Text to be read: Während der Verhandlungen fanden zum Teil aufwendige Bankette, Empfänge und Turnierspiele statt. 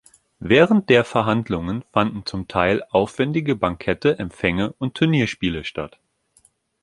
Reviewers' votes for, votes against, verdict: 2, 0, accepted